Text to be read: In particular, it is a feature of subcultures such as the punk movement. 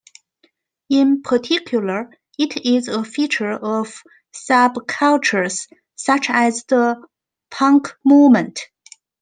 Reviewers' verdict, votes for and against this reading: accepted, 2, 0